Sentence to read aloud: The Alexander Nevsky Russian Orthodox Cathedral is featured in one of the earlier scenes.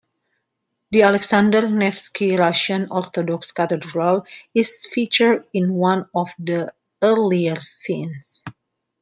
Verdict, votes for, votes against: accepted, 2, 1